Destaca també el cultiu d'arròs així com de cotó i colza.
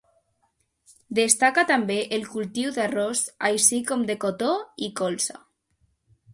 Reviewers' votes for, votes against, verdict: 2, 0, accepted